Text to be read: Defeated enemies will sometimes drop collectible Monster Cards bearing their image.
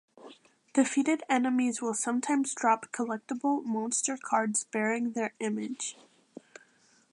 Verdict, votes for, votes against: accepted, 2, 0